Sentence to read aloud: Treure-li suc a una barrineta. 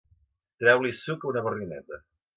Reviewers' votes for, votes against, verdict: 0, 2, rejected